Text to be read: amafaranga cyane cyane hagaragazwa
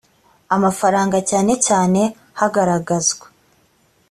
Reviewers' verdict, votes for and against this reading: accepted, 2, 0